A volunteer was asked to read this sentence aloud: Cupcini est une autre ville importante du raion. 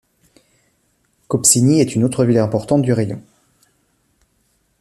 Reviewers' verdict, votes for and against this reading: accepted, 2, 0